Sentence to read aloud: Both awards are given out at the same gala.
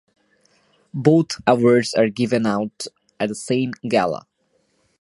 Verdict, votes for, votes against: accepted, 2, 1